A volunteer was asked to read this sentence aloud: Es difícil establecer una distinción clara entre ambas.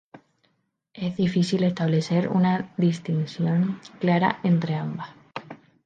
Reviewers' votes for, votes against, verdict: 0, 2, rejected